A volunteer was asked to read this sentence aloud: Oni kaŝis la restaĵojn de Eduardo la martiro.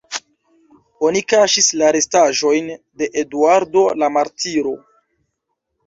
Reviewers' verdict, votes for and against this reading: accepted, 2, 0